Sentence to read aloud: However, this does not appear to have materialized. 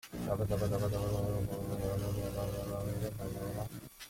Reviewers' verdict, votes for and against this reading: rejected, 0, 2